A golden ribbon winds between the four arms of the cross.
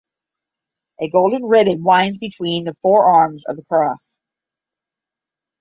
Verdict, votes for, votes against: accepted, 5, 0